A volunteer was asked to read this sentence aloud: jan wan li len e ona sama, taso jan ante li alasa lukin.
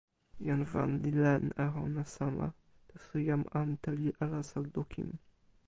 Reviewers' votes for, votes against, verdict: 0, 2, rejected